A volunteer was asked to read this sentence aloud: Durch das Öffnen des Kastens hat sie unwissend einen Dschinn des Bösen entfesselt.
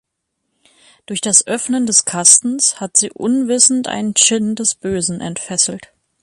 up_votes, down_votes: 2, 0